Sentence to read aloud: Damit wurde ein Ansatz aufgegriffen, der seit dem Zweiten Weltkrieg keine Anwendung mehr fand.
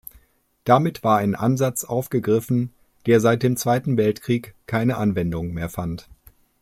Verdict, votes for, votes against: rejected, 1, 2